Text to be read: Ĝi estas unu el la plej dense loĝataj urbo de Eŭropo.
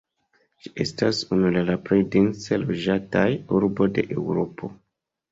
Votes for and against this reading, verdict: 2, 0, accepted